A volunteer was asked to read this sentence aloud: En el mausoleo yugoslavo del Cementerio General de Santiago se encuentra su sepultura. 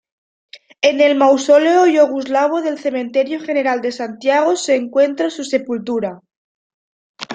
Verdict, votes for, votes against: rejected, 1, 2